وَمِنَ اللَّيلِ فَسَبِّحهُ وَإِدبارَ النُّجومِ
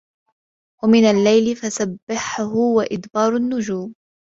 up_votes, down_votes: 2, 0